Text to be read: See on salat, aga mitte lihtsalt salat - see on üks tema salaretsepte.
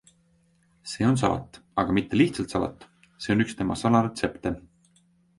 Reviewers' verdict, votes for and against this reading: accepted, 2, 0